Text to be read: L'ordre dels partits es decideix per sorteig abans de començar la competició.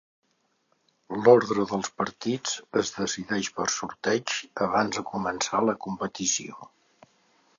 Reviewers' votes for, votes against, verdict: 2, 0, accepted